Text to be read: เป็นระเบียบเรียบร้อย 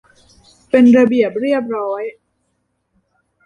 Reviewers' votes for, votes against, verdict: 2, 1, accepted